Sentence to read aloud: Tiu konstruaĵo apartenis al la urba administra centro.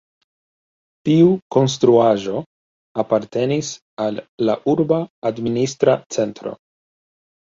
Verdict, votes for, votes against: rejected, 1, 2